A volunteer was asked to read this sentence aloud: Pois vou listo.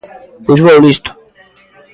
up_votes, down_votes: 1, 2